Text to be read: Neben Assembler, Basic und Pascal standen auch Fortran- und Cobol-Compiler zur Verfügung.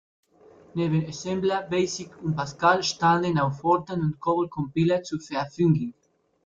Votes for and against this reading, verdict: 1, 2, rejected